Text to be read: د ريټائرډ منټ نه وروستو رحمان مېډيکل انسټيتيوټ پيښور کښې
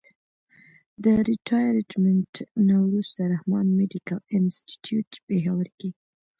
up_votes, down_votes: 2, 0